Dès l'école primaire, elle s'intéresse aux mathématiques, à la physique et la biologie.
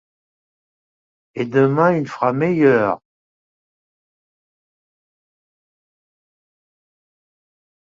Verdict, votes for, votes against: rejected, 0, 2